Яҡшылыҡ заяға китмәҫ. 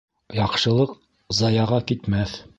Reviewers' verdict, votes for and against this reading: accepted, 2, 0